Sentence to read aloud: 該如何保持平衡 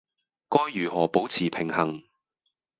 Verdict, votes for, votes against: rejected, 0, 2